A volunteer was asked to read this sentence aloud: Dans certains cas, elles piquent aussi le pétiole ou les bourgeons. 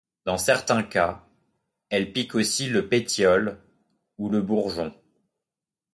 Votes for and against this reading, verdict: 1, 2, rejected